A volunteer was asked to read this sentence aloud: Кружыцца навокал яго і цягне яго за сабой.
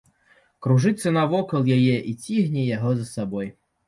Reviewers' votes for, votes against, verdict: 0, 2, rejected